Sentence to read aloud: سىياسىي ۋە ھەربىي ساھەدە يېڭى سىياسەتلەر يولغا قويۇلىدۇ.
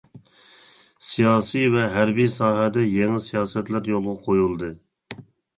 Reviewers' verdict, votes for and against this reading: rejected, 0, 2